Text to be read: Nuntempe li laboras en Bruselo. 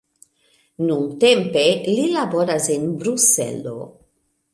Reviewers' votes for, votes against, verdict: 2, 0, accepted